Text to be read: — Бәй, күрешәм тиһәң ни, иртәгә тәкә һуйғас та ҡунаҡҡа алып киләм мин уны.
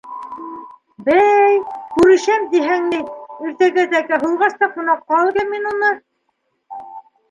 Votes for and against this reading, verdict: 0, 2, rejected